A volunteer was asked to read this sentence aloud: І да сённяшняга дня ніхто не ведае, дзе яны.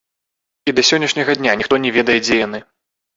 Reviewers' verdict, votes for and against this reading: rejected, 1, 2